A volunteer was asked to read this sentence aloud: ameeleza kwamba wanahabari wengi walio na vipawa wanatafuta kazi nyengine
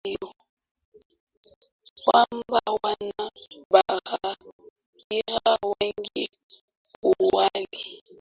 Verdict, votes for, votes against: rejected, 0, 2